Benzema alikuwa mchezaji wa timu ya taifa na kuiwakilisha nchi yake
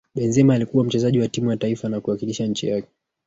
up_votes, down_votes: 0, 2